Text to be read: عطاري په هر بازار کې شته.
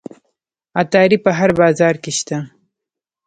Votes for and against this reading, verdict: 0, 2, rejected